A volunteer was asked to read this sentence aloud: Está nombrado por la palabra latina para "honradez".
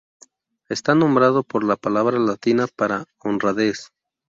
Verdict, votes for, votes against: accepted, 2, 0